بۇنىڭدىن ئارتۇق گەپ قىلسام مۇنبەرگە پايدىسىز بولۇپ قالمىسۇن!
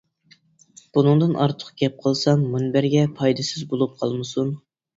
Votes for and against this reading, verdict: 2, 0, accepted